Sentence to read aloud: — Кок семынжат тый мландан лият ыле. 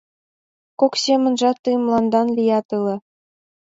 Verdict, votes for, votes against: rejected, 0, 2